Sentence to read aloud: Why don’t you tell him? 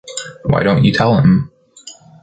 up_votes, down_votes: 2, 0